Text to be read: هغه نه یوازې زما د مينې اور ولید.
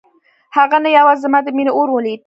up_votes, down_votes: 2, 0